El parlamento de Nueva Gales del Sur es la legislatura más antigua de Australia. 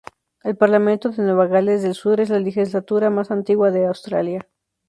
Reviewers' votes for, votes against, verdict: 0, 2, rejected